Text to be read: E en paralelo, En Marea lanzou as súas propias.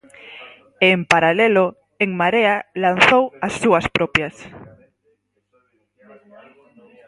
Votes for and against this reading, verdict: 4, 0, accepted